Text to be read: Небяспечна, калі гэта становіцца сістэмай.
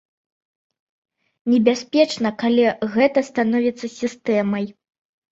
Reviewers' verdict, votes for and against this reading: accepted, 2, 0